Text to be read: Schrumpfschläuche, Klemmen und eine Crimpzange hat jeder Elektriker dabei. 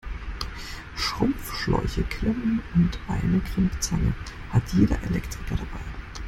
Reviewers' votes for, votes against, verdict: 1, 2, rejected